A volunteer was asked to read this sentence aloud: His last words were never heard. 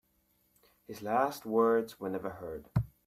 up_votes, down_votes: 3, 0